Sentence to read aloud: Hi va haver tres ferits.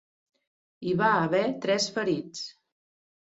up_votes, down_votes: 4, 0